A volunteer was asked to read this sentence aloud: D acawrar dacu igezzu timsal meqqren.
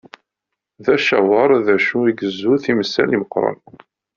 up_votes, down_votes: 1, 2